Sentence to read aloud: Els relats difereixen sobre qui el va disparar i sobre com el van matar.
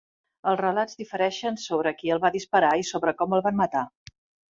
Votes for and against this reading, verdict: 3, 0, accepted